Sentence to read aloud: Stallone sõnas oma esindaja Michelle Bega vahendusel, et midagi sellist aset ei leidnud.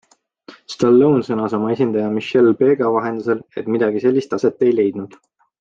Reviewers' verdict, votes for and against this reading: accepted, 2, 0